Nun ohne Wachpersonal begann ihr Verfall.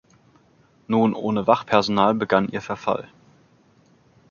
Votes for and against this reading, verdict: 2, 0, accepted